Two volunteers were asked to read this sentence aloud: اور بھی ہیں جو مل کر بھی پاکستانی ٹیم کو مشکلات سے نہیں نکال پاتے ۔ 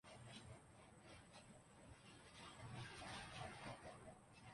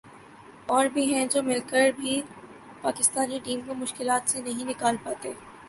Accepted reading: second